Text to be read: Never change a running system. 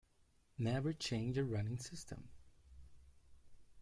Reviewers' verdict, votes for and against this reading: rejected, 0, 2